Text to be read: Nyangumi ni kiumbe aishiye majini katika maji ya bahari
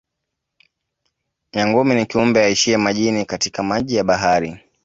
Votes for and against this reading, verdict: 2, 1, accepted